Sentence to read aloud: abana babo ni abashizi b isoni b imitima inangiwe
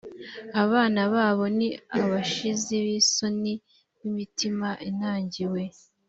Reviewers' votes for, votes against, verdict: 2, 0, accepted